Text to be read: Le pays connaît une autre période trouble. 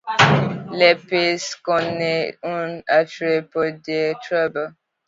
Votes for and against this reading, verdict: 2, 1, accepted